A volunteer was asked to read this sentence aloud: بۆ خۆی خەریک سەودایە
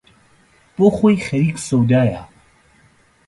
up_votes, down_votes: 2, 0